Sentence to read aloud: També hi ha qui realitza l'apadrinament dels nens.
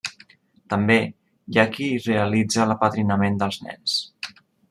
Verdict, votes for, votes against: accepted, 2, 0